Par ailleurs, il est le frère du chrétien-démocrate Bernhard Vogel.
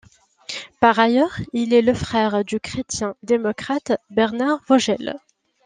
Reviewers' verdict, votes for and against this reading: accepted, 2, 0